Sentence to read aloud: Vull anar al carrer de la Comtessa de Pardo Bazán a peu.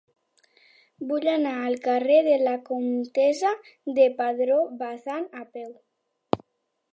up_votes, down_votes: 0, 2